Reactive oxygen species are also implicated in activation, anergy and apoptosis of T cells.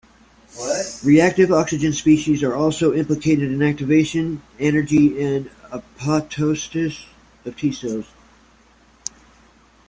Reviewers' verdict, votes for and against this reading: rejected, 0, 2